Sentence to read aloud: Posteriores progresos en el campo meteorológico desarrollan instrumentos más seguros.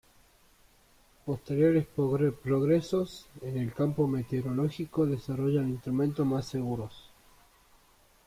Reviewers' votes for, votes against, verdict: 0, 2, rejected